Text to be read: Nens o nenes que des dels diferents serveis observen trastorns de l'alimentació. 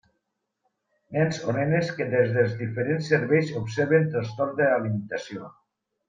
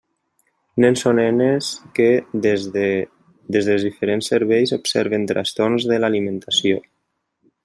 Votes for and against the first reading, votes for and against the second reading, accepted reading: 2, 0, 0, 2, first